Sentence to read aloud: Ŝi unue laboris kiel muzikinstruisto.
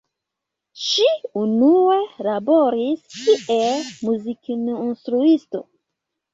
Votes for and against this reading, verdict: 1, 2, rejected